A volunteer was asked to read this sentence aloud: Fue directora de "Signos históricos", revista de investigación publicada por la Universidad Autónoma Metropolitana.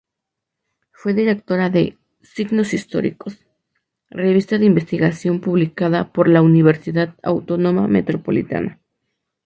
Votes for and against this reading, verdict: 2, 0, accepted